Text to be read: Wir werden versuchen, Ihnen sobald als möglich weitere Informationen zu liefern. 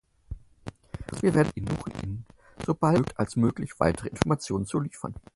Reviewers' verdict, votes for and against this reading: rejected, 0, 6